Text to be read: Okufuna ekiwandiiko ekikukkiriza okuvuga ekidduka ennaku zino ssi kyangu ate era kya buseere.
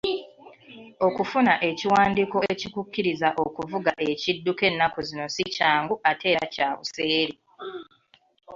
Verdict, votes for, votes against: accepted, 2, 1